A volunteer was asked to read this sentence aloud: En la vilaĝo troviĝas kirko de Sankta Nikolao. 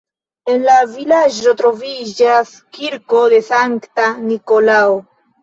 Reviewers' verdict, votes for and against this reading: rejected, 0, 2